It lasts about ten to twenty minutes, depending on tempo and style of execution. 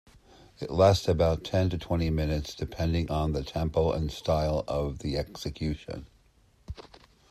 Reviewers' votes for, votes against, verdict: 1, 2, rejected